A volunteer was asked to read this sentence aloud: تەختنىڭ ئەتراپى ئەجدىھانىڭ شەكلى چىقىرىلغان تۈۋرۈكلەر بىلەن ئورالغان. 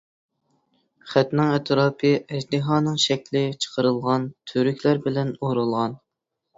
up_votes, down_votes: 1, 2